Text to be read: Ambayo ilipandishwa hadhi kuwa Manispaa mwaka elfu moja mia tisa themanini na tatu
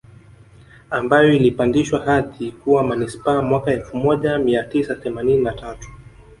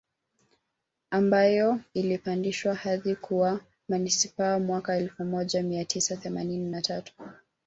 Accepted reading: first